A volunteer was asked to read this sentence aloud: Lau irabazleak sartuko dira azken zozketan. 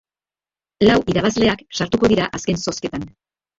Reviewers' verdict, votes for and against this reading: accepted, 2, 1